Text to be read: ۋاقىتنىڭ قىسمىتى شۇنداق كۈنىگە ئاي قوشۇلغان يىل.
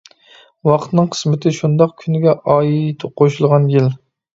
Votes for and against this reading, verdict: 0, 2, rejected